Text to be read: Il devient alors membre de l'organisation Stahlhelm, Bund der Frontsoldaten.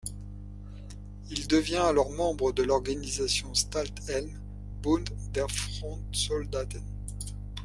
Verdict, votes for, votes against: rejected, 1, 2